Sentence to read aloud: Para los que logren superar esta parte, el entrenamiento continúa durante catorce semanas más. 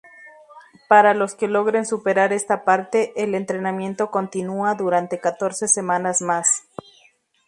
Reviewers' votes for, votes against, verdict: 2, 0, accepted